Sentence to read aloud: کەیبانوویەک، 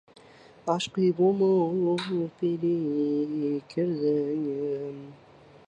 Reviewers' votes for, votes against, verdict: 0, 2, rejected